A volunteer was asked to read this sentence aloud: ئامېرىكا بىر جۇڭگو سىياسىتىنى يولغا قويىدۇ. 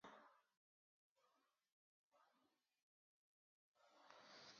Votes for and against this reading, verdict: 0, 2, rejected